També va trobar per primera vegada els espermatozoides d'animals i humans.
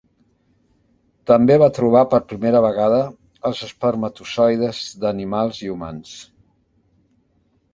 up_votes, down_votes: 2, 0